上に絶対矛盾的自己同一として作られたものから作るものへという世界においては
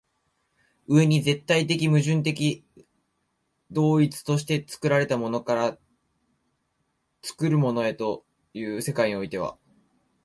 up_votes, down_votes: 0, 2